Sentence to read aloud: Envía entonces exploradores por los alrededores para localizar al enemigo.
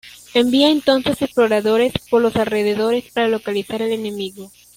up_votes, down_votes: 0, 2